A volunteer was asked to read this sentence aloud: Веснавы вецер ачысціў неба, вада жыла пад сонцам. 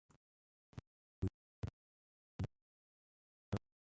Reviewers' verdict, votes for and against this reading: rejected, 0, 2